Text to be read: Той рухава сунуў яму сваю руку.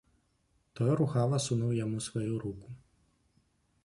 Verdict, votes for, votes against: rejected, 1, 2